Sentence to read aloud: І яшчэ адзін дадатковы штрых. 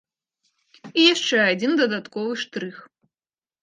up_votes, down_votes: 2, 0